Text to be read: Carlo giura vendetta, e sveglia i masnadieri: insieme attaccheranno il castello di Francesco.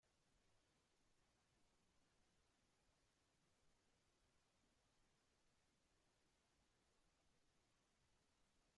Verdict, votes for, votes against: rejected, 0, 2